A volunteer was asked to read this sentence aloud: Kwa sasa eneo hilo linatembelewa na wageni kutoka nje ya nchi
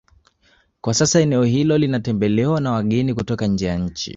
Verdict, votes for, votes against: accepted, 2, 1